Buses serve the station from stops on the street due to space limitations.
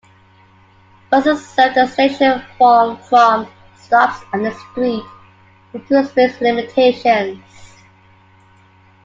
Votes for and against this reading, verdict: 0, 2, rejected